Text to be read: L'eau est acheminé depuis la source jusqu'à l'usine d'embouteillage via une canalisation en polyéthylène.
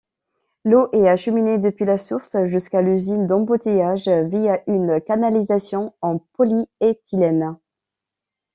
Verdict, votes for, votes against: rejected, 0, 2